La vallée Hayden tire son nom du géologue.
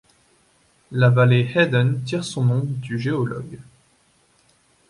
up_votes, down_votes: 2, 0